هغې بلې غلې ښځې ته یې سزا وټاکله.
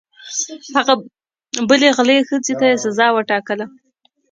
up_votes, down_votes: 1, 2